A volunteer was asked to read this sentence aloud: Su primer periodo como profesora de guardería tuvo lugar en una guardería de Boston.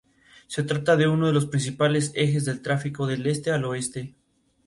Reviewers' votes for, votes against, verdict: 2, 2, rejected